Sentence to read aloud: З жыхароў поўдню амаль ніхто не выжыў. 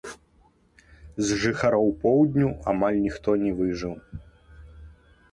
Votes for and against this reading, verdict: 0, 2, rejected